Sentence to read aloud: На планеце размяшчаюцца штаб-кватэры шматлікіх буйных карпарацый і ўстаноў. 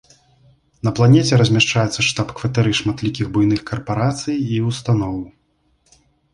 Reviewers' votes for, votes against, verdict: 2, 0, accepted